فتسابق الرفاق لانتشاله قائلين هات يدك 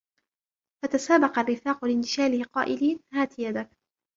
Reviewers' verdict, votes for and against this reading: rejected, 1, 2